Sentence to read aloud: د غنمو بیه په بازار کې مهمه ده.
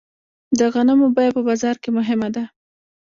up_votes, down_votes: 1, 2